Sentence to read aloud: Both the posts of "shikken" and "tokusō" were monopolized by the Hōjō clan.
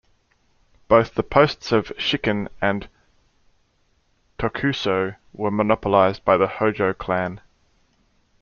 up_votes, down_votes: 1, 2